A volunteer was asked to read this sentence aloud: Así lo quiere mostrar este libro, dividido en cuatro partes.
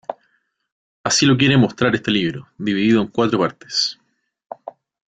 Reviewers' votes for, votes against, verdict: 2, 0, accepted